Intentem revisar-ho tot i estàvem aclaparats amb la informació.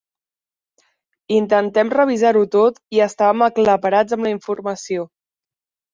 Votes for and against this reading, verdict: 4, 2, accepted